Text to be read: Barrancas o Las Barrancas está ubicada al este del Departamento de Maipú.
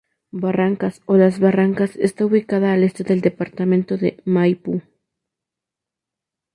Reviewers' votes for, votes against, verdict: 2, 0, accepted